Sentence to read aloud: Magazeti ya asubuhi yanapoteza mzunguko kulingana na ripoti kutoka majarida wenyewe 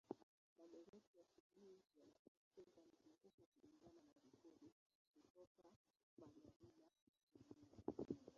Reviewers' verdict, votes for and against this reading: rejected, 0, 2